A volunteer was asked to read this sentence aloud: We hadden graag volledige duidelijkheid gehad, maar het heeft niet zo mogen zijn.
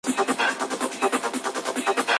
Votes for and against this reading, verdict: 0, 2, rejected